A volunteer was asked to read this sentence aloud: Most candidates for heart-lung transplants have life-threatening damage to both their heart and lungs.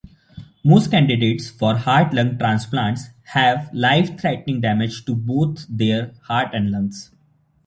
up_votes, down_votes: 2, 0